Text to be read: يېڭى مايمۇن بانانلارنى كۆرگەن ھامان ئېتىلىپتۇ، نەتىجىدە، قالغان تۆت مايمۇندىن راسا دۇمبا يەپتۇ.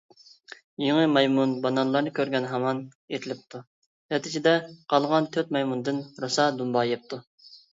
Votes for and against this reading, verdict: 2, 0, accepted